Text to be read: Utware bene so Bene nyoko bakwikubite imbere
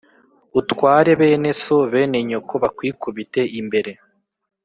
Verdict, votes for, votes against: accepted, 2, 0